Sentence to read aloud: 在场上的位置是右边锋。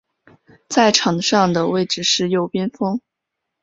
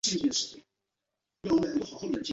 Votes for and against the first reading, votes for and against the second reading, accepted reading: 2, 0, 3, 4, first